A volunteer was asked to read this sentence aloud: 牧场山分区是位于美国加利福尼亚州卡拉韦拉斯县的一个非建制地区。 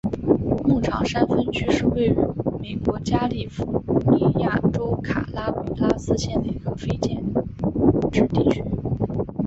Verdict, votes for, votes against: rejected, 1, 3